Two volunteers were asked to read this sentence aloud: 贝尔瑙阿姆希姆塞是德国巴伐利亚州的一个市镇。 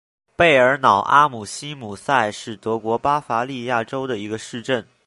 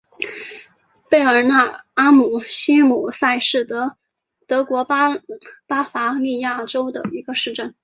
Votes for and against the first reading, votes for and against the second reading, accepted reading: 2, 0, 1, 2, first